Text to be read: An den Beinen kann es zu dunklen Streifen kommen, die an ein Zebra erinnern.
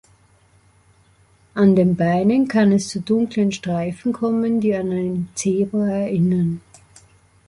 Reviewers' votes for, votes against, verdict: 3, 0, accepted